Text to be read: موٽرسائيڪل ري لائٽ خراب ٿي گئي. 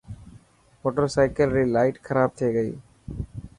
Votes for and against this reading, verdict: 3, 0, accepted